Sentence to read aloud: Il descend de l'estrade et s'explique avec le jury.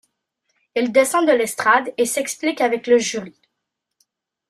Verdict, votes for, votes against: accepted, 2, 0